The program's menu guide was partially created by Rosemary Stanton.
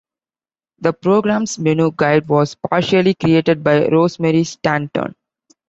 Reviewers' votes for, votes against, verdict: 2, 0, accepted